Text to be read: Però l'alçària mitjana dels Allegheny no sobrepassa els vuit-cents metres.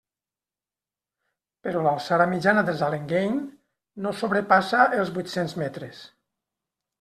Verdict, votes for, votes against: rejected, 1, 2